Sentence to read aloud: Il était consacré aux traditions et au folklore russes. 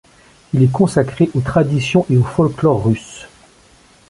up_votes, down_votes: 0, 2